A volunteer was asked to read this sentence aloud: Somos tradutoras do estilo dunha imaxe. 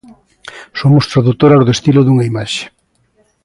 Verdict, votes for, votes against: accepted, 2, 0